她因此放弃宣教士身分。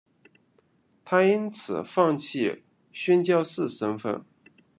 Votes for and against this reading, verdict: 2, 1, accepted